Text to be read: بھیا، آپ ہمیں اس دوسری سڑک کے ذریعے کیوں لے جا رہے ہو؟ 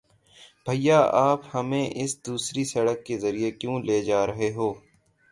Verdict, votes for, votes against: accepted, 3, 0